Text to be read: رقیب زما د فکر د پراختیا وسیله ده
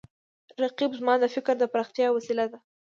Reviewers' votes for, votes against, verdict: 2, 0, accepted